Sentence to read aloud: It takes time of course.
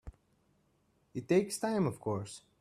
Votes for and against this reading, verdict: 3, 0, accepted